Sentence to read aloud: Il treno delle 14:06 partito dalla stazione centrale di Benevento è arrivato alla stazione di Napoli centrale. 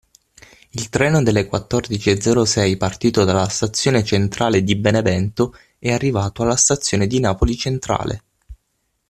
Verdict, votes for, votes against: rejected, 0, 2